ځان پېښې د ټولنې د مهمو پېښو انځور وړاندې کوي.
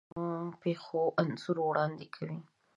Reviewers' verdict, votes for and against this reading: rejected, 1, 2